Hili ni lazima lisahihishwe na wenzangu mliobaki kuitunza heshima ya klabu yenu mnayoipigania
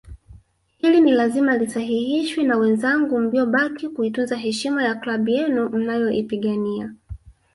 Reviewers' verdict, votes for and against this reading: rejected, 1, 2